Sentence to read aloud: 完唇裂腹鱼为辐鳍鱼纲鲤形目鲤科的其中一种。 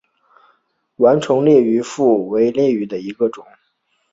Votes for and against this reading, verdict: 0, 2, rejected